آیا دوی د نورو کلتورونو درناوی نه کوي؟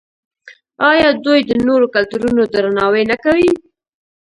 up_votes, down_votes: 1, 2